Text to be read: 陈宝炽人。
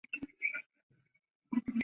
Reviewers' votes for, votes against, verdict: 1, 2, rejected